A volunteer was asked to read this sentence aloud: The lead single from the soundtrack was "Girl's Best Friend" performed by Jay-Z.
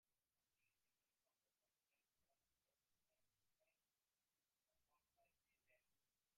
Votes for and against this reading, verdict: 0, 2, rejected